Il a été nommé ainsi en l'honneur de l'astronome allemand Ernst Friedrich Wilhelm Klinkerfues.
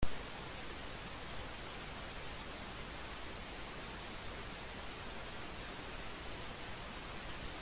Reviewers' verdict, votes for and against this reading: rejected, 0, 2